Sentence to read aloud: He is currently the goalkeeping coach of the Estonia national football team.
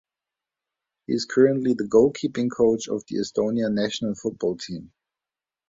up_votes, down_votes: 2, 0